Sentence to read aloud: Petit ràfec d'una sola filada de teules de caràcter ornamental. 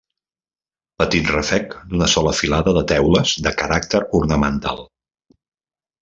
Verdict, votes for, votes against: rejected, 0, 2